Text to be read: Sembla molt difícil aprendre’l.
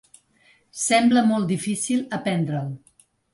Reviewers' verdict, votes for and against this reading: accepted, 3, 0